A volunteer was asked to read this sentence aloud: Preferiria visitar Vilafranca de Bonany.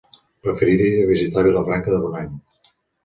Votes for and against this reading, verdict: 2, 0, accepted